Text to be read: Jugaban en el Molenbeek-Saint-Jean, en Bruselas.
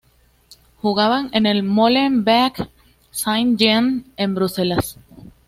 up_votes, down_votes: 2, 0